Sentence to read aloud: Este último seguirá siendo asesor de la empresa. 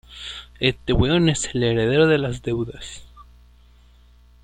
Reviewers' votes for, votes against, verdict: 0, 2, rejected